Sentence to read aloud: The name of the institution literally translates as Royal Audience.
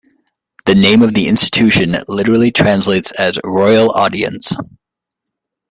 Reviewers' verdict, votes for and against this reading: rejected, 0, 2